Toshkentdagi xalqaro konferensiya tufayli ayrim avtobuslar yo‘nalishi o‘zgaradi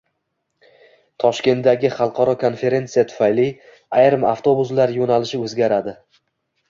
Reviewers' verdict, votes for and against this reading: accepted, 2, 0